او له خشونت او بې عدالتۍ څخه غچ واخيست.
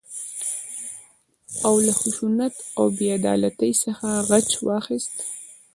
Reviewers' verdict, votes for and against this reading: rejected, 0, 2